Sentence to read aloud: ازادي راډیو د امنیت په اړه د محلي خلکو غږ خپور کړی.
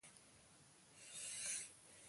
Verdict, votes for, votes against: accepted, 2, 0